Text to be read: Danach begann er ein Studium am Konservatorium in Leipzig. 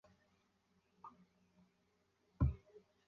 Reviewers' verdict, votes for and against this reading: rejected, 0, 2